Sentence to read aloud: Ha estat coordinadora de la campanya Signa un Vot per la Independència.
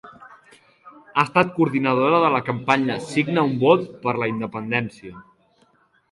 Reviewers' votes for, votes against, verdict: 0, 2, rejected